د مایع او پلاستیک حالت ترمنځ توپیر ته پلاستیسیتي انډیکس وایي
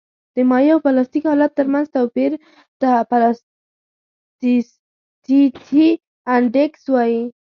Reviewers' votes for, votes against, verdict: 1, 2, rejected